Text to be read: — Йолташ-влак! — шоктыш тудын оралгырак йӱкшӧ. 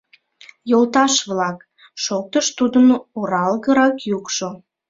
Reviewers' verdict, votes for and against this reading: rejected, 1, 2